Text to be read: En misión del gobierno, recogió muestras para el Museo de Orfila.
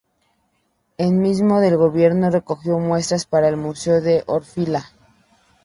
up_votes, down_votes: 0, 2